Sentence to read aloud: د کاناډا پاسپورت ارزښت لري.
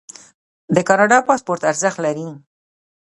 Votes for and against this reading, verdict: 0, 2, rejected